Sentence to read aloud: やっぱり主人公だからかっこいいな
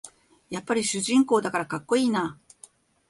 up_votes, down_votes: 2, 0